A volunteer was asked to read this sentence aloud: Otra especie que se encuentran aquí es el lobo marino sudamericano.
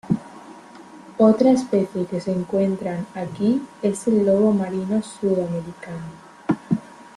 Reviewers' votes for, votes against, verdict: 2, 0, accepted